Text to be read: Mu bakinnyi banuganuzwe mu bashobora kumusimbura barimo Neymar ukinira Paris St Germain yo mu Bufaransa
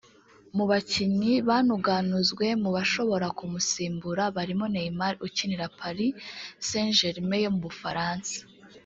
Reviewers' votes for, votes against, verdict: 0, 2, rejected